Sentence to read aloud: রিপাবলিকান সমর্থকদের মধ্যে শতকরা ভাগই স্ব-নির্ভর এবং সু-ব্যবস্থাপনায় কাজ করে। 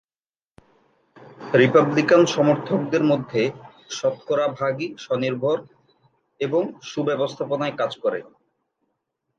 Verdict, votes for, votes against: accepted, 2, 0